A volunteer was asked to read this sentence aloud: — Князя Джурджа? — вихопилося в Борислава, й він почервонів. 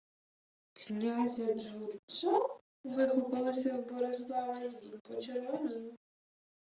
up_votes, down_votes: 0, 2